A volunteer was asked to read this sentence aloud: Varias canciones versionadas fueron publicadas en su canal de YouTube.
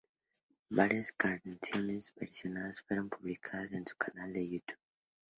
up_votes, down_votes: 2, 0